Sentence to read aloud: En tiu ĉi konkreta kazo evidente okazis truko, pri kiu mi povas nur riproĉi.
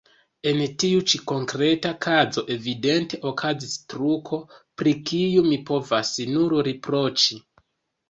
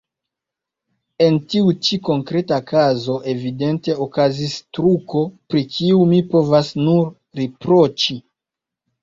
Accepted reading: second